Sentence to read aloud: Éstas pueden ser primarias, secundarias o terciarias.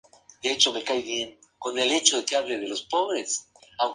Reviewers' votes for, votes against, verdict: 0, 2, rejected